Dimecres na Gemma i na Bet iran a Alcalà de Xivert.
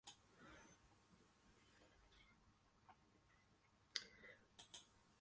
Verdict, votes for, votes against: rejected, 0, 2